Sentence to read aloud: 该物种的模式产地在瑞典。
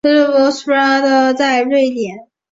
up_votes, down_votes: 1, 2